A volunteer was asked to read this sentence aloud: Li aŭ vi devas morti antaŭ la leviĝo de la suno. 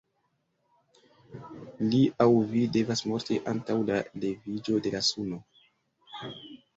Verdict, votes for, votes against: rejected, 0, 2